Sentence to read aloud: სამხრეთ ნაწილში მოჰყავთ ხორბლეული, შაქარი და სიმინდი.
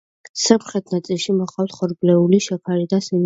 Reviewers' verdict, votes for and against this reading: rejected, 0, 2